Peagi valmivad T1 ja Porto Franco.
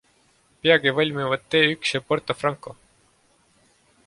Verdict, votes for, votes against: rejected, 0, 2